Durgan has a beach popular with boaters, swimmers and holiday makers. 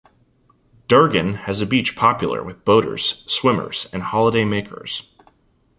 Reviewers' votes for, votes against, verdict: 2, 0, accepted